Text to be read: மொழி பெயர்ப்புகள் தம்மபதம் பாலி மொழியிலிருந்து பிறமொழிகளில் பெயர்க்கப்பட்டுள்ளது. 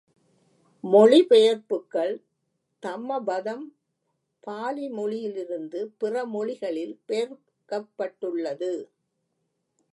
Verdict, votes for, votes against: rejected, 1, 2